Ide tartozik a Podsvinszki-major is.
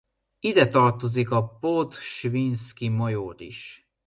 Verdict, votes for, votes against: accepted, 2, 1